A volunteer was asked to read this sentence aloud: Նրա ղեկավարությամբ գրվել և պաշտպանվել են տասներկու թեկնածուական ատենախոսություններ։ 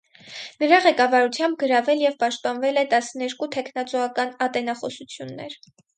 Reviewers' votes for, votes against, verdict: 0, 4, rejected